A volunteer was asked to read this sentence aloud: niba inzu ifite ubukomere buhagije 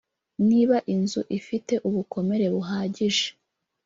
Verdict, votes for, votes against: rejected, 1, 2